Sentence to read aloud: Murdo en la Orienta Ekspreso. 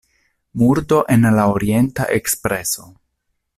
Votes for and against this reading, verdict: 2, 0, accepted